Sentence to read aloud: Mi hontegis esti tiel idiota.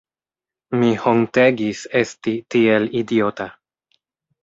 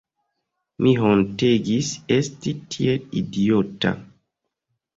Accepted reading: first